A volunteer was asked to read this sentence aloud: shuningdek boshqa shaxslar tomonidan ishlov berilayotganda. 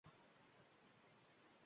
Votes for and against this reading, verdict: 0, 2, rejected